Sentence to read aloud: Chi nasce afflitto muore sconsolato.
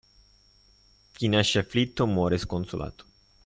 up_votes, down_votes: 2, 0